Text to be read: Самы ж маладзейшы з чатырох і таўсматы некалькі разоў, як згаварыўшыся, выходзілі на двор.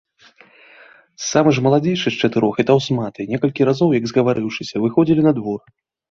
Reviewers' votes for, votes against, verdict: 2, 0, accepted